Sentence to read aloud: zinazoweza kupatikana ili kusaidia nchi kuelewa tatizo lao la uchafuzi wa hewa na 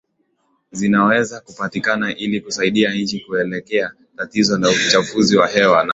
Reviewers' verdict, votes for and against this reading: accepted, 2, 1